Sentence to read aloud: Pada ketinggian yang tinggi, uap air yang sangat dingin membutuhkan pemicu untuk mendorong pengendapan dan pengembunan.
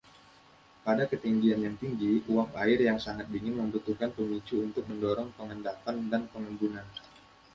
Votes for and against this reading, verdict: 1, 2, rejected